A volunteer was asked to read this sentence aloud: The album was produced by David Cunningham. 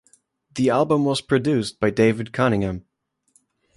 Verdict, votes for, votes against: accepted, 2, 0